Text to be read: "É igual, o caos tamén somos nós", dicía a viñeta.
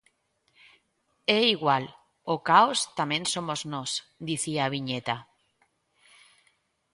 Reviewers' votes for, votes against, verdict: 2, 0, accepted